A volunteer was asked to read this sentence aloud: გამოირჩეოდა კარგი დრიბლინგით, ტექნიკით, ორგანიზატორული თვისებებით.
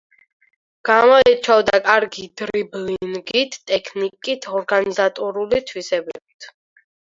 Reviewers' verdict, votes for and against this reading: rejected, 2, 4